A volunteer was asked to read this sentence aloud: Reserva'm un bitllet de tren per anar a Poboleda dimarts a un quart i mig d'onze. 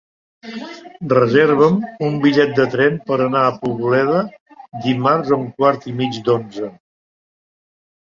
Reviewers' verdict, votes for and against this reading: rejected, 0, 2